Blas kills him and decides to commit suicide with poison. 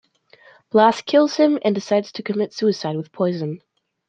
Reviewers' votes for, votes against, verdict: 2, 0, accepted